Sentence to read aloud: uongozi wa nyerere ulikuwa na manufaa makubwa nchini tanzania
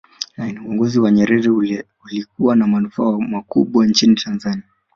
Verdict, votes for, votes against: accepted, 4, 0